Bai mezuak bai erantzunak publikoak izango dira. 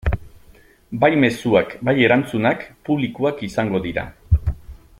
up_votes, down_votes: 3, 0